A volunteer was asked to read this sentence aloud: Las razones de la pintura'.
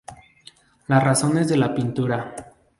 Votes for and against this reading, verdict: 0, 2, rejected